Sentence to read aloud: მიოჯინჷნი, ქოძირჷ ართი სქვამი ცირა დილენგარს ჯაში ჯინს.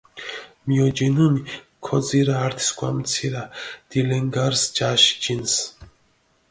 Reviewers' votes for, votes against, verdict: 2, 0, accepted